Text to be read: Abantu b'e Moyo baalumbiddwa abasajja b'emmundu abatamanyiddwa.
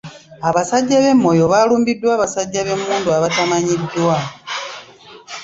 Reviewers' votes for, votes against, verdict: 0, 2, rejected